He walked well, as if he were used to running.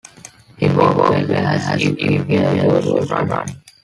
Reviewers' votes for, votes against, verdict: 0, 2, rejected